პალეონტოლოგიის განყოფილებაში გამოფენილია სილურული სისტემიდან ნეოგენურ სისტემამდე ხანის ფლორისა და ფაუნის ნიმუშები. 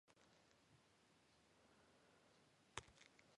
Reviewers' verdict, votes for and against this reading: rejected, 1, 2